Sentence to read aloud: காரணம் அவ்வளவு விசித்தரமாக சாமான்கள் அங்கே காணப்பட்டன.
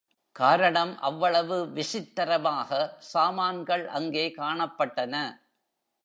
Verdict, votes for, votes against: accepted, 2, 0